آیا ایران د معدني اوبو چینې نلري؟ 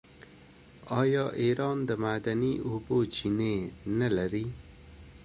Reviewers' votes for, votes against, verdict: 2, 0, accepted